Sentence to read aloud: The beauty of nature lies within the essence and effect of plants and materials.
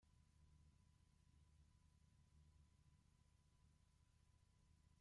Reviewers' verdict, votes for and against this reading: rejected, 0, 2